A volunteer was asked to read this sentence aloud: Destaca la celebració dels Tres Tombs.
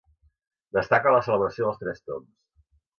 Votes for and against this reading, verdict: 2, 0, accepted